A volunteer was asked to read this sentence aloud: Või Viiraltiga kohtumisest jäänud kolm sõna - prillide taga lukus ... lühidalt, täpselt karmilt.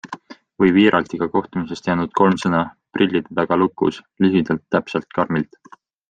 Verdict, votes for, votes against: accepted, 2, 0